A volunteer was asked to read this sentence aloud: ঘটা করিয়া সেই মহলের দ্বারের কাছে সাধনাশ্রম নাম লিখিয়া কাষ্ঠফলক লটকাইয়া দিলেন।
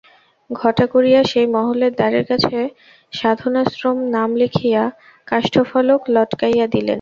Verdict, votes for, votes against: rejected, 0, 2